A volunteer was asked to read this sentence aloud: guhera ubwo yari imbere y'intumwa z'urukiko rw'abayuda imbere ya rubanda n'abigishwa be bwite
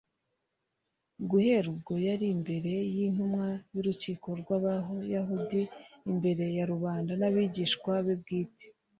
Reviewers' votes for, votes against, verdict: 1, 2, rejected